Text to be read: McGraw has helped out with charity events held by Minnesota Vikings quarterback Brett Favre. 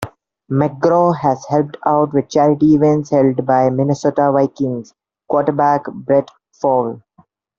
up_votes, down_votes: 0, 2